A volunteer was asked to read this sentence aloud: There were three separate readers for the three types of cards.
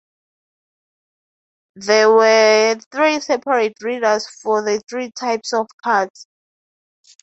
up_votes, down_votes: 2, 0